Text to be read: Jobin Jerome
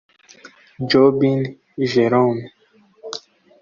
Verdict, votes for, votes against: rejected, 1, 2